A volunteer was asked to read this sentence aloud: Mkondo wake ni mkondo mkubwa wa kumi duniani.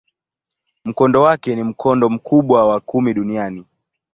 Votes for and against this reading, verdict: 2, 0, accepted